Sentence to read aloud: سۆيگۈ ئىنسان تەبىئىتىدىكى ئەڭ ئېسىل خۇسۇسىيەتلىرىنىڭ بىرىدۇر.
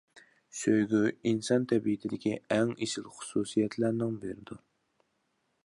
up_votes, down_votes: 0, 2